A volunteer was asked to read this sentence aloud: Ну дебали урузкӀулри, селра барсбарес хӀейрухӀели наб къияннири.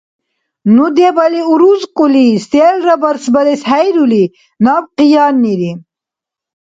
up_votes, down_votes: 0, 2